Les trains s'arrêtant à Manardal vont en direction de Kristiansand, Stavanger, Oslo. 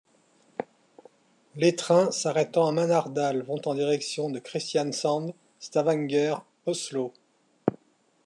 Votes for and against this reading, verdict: 2, 0, accepted